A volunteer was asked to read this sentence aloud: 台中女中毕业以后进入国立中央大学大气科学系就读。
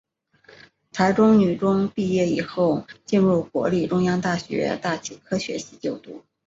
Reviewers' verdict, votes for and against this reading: accepted, 2, 0